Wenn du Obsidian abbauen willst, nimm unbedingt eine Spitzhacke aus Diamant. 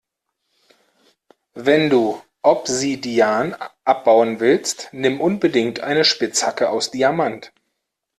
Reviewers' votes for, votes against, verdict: 2, 0, accepted